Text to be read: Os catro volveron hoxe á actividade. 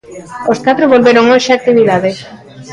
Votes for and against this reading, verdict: 0, 2, rejected